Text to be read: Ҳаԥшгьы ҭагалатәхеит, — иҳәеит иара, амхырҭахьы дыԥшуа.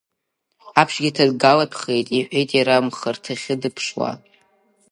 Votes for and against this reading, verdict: 7, 0, accepted